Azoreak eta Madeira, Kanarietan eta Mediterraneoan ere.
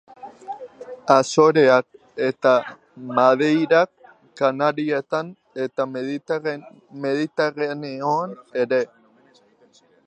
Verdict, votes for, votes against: rejected, 1, 2